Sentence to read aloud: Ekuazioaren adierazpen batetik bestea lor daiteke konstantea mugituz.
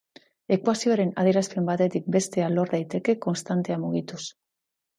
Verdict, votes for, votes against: accepted, 6, 0